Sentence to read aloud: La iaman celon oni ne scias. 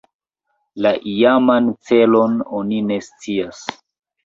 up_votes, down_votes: 3, 2